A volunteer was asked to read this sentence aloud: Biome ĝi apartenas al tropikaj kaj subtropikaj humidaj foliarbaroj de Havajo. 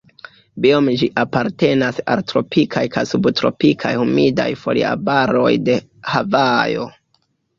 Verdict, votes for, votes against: rejected, 2, 3